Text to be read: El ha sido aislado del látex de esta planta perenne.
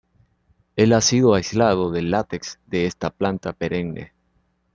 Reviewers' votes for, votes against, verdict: 1, 2, rejected